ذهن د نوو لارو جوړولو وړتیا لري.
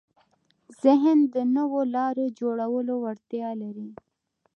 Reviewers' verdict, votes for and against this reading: accepted, 2, 0